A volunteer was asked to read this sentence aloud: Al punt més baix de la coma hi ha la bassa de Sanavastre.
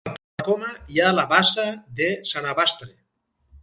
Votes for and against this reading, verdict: 0, 4, rejected